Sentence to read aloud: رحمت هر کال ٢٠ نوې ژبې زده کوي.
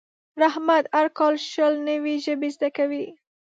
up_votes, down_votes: 0, 2